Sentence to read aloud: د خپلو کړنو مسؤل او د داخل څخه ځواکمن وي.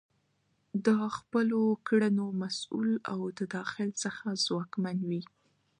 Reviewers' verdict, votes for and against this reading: accepted, 2, 0